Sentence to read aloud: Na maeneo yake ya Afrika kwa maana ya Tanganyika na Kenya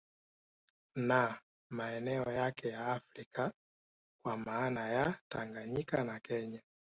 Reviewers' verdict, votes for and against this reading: accepted, 2, 0